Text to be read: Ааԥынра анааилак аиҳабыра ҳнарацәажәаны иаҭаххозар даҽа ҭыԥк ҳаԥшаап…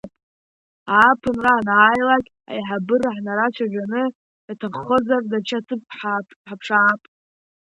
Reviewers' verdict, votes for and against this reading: rejected, 0, 2